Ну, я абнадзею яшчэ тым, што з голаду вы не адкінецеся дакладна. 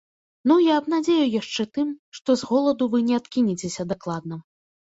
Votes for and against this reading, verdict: 2, 0, accepted